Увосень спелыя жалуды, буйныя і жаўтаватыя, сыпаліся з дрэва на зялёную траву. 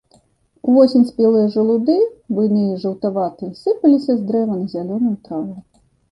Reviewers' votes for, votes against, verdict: 2, 1, accepted